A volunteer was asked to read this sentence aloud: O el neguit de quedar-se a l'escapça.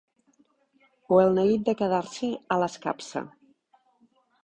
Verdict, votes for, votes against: rejected, 0, 2